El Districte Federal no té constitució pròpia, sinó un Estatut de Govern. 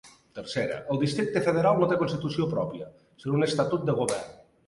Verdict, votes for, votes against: rejected, 1, 2